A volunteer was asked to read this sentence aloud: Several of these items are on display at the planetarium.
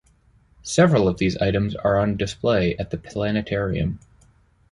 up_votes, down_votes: 2, 0